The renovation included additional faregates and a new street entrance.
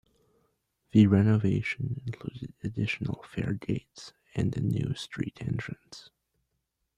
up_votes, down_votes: 2, 0